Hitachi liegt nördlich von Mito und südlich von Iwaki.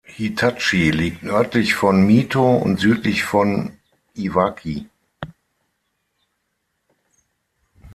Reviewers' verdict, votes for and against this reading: accepted, 6, 3